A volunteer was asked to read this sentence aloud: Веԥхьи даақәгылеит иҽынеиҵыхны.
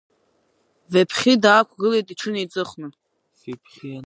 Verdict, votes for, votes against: rejected, 1, 2